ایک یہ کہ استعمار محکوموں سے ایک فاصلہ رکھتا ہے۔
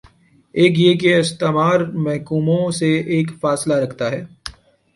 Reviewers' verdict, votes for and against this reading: accepted, 5, 0